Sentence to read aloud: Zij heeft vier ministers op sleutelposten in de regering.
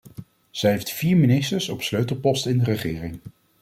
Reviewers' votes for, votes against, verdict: 2, 0, accepted